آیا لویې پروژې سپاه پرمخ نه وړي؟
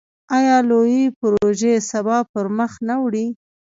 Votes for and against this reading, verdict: 1, 2, rejected